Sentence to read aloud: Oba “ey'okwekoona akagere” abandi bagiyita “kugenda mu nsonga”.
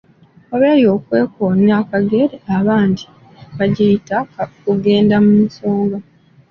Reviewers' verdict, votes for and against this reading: accepted, 2, 0